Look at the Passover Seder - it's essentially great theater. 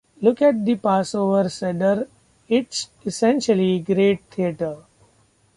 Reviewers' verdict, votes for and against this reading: accepted, 2, 1